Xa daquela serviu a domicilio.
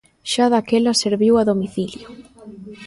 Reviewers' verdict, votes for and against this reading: rejected, 0, 2